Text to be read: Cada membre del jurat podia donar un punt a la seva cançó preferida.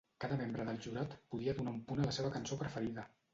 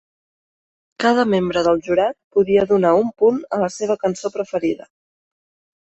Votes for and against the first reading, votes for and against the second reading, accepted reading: 0, 2, 3, 0, second